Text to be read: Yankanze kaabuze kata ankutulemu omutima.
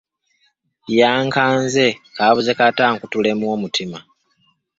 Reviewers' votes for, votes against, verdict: 1, 2, rejected